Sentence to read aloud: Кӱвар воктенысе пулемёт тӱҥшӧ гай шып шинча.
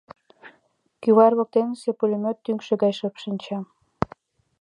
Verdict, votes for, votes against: accepted, 2, 1